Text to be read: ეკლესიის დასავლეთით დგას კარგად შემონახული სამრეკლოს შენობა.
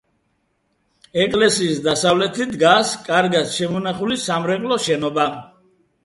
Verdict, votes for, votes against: accepted, 2, 0